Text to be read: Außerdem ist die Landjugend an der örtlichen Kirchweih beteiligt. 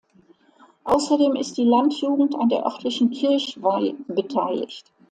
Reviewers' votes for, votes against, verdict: 2, 0, accepted